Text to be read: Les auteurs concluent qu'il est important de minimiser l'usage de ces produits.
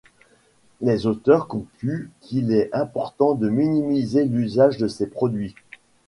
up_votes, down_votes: 2, 0